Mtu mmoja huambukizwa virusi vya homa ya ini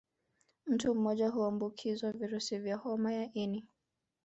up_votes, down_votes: 0, 2